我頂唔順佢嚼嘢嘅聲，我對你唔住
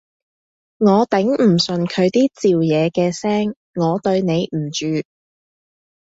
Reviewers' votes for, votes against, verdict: 0, 2, rejected